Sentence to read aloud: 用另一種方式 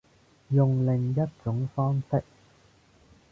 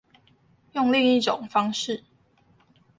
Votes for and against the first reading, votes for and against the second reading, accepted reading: 0, 2, 2, 0, second